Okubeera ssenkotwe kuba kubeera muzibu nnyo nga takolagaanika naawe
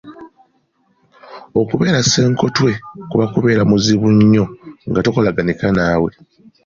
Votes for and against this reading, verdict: 2, 0, accepted